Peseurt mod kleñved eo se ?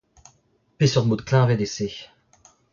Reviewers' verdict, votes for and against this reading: rejected, 0, 2